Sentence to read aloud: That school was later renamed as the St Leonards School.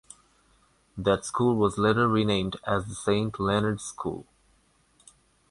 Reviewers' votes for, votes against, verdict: 4, 0, accepted